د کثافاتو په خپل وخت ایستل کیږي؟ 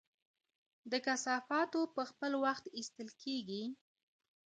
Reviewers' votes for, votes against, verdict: 1, 2, rejected